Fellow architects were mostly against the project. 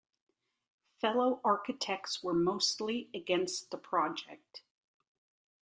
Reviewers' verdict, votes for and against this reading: accepted, 2, 0